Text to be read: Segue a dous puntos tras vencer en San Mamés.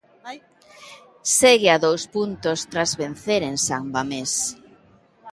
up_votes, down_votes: 2, 0